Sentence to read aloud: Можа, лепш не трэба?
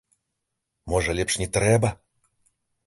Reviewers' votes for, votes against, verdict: 2, 1, accepted